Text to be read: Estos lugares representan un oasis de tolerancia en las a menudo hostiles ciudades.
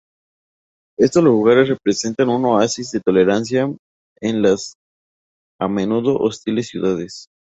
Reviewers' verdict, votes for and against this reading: rejected, 0, 2